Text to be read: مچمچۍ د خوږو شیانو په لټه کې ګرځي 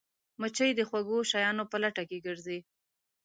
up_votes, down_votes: 1, 2